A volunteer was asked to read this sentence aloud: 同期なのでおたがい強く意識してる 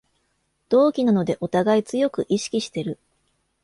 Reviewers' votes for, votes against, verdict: 2, 0, accepted